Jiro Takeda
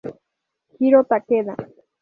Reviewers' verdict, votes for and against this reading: accepted, 2, 0